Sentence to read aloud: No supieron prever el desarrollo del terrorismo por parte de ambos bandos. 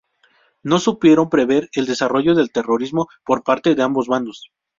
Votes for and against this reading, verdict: 4, 0, accepted